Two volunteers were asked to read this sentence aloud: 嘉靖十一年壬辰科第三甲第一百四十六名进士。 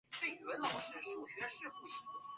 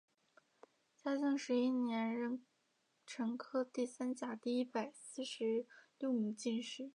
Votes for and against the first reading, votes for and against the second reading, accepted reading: 1, 3, 2, 0, second